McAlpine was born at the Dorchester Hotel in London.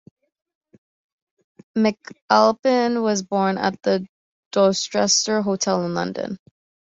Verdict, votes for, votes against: rejected, 0, 2